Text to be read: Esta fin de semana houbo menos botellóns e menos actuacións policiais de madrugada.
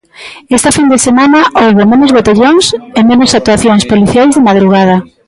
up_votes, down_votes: 2, 1